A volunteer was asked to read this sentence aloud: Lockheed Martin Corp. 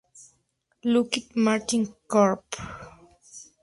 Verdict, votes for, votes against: rejected, 0, 4